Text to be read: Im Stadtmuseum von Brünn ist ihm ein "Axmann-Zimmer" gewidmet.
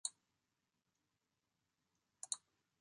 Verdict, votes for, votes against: rejected, 0, 2